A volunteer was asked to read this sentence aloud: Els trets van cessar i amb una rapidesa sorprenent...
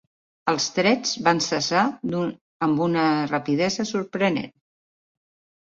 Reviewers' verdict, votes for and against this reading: rejected, 0, 2